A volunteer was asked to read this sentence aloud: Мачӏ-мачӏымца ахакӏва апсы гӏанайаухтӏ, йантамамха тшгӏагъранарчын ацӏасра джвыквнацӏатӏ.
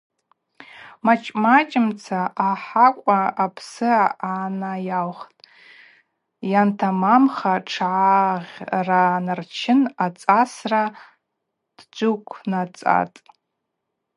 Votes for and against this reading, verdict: 0, 2, rejected